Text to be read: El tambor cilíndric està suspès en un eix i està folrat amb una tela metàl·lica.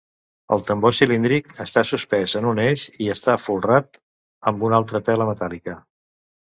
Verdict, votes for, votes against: rejected, 1, 2